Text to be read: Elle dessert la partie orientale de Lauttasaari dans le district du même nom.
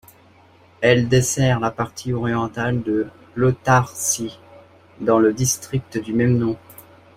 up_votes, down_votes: 0, 2